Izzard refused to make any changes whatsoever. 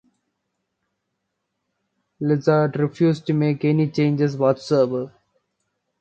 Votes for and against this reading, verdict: 2, 0, accepted